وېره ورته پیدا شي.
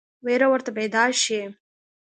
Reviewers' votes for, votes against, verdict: 2, 0, accepted